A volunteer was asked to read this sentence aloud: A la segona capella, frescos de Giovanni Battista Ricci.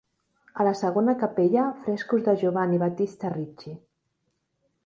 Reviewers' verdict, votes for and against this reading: accepted, 2, 0